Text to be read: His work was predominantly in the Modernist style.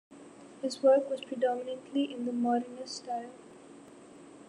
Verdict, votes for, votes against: accepted, 2, 0